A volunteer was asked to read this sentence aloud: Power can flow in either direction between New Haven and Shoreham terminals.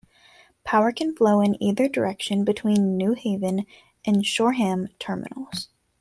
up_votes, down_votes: 2, 0